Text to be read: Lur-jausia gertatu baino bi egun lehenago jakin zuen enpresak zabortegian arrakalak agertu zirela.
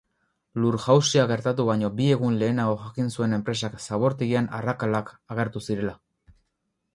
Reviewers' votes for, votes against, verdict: 2, 0, accepted